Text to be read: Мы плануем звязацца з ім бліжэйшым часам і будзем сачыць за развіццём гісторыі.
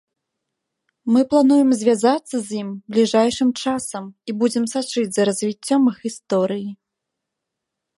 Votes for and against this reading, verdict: 0, 2, rejected